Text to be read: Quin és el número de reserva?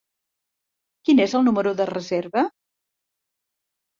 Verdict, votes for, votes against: accepted, 3, 0